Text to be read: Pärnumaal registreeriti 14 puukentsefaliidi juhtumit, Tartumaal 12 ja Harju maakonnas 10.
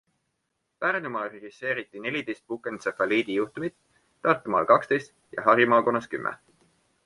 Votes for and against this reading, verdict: 0, 2, rejected